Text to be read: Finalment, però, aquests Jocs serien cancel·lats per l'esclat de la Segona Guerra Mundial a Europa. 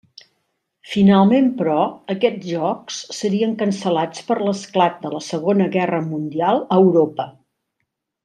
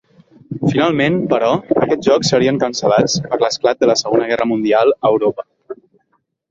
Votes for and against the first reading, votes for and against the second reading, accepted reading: 3, 0, 0, 2, first